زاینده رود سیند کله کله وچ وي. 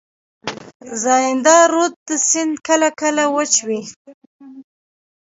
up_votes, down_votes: 0, 2